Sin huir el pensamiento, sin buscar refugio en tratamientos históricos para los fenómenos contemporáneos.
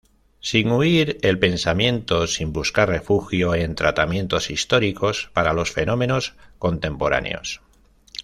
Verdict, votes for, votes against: accepted, 2, 0